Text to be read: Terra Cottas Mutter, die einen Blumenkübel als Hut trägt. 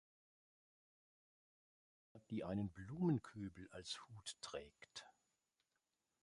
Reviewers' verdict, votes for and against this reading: rejected, 0, 2